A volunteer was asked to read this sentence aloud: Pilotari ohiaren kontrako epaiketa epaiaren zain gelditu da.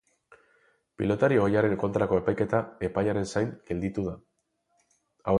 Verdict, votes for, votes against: rejected, 2, 4